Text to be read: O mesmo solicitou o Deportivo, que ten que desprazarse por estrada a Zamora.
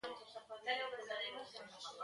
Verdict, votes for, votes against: rejected, 0, 2